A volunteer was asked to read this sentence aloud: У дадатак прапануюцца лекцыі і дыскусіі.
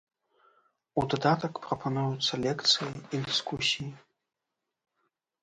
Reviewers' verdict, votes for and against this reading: accepted, 2, 0